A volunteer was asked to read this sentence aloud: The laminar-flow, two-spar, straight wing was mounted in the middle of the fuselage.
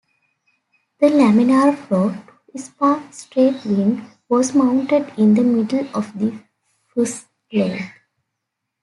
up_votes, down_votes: 0, 2